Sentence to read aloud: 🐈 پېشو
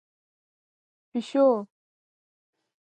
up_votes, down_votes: 2, 0